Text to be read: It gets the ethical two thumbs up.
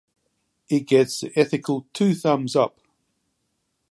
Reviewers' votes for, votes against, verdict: 1, 2, rejected